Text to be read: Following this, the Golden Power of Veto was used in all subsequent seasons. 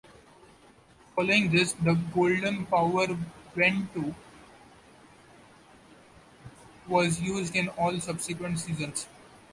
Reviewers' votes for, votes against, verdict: 0, 2, rejected